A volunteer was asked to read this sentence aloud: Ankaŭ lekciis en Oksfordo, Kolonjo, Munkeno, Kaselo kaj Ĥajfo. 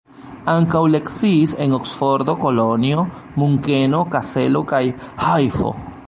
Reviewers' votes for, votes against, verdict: 0, 2, rejected